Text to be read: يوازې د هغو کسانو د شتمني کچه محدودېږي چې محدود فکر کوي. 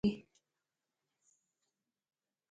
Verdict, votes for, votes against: rejected, 0, 2